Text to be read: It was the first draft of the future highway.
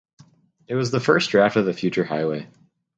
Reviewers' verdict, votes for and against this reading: accepted, 4, 0